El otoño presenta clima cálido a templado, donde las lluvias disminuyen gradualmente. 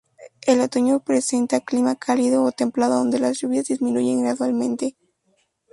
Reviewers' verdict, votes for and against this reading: rejected, 0, 2